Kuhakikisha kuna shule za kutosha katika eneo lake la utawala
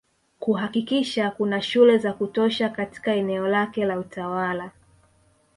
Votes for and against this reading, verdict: 2, 0, accepted